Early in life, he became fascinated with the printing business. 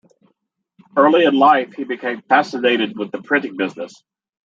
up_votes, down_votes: 0, 2